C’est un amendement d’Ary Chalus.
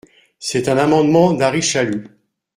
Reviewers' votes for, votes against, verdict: 2, 0, accepted